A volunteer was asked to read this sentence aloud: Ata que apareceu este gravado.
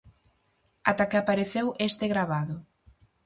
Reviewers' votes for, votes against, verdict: 4, 0, accepted